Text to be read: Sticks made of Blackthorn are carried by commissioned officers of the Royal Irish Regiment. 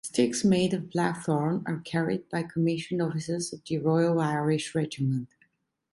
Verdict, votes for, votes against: accepted, 2, 0